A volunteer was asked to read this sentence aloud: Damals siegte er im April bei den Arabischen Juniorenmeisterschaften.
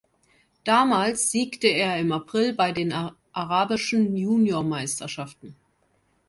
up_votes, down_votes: 1, 2